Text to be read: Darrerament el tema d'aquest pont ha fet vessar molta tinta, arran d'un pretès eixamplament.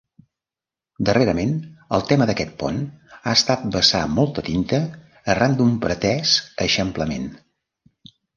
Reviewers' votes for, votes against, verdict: 0, 2, rejected